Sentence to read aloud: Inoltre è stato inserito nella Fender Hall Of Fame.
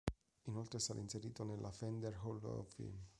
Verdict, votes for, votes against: rejected, 1, 2